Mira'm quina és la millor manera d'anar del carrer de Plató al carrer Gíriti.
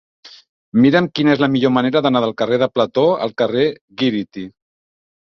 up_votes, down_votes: 2, 0